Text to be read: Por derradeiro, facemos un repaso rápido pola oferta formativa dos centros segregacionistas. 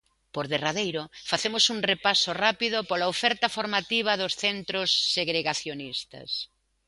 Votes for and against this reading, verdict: 2, 0, accepted